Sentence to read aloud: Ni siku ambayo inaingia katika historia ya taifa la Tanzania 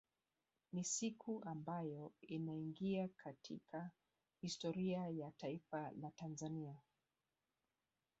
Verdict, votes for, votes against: accepted, 2, 1